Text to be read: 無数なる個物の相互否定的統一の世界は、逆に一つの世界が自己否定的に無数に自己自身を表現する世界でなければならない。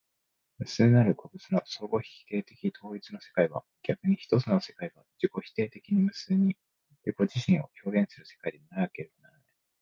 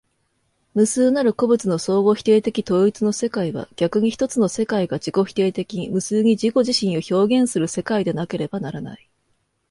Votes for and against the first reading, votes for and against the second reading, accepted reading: 0, 2, 2, 0, second